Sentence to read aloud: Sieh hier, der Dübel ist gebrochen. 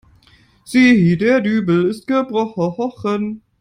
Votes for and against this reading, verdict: 1, 2, rejected